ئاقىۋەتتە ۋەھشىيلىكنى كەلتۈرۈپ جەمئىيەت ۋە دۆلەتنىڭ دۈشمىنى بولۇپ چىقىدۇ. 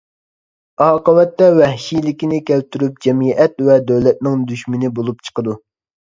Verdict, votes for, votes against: accepted, 2, 0